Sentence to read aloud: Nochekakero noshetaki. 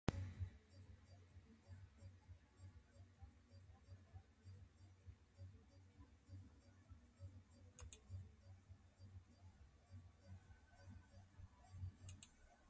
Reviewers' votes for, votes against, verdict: 0, 2, rejected